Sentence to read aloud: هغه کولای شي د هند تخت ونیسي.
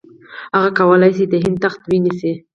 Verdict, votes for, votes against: accepted, 4, 0